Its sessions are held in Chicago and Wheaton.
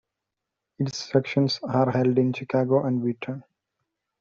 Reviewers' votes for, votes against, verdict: 2, 0, accepted